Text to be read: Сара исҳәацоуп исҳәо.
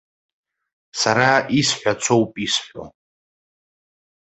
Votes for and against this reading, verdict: 2, 0, accepted